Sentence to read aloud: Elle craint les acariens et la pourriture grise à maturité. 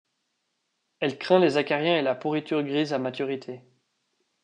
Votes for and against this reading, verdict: 2, 0, accepted